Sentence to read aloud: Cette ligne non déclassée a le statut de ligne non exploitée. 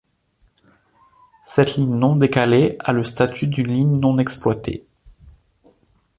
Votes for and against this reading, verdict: 1, 2, rejected